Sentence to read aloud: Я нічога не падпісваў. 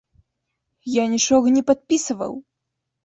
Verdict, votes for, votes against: rejected, 1, 2